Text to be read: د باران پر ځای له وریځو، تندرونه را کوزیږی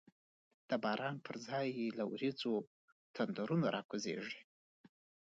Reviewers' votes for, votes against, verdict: 1, 2, rejected